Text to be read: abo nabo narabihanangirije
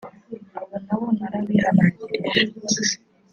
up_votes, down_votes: 1, 2